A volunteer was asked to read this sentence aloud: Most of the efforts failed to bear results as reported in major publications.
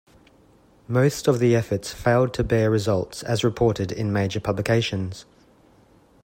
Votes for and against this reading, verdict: 2, 0, accepted